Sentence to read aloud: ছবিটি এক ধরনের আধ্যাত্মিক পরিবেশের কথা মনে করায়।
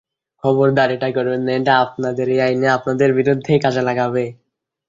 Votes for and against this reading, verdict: 0, 2, rejected